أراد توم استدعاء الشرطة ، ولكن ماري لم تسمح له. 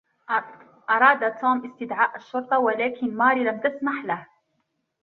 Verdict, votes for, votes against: accepted, 2, 0